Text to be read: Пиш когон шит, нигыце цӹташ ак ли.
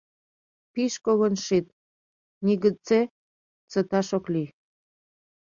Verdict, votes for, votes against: rejected, 1, 2